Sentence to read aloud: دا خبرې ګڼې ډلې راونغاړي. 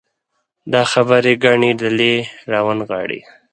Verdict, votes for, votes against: accepted, 4, 0